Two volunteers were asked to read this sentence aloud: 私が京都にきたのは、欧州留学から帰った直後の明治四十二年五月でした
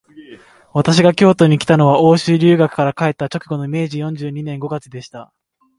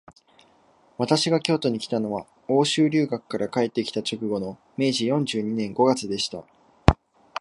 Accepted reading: second